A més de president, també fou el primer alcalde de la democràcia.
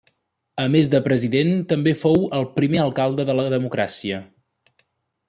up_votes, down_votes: 3, 0